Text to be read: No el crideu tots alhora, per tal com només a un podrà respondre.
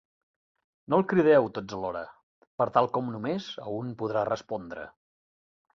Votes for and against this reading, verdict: 4, 0, accepted